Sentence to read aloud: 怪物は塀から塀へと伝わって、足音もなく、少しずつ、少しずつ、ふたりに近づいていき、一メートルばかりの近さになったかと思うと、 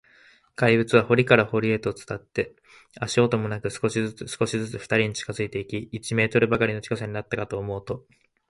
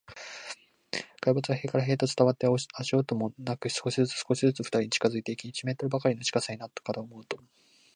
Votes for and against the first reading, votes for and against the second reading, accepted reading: 2, 1, 1, 2, first